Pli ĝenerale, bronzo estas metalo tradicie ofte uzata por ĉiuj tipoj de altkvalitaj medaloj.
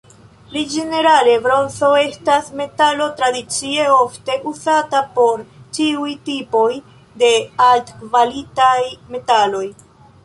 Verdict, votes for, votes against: rejected, 1, 2